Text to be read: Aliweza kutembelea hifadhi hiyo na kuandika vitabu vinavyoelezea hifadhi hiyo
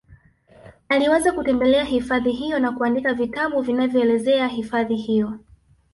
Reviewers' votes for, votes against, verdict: 1, 2, rejected